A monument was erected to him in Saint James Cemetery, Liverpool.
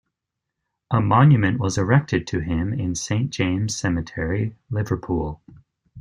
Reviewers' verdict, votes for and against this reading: accepted, 2, 0